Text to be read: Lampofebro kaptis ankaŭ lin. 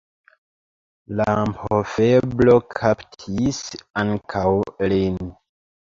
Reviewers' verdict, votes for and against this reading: rejected, 0, 2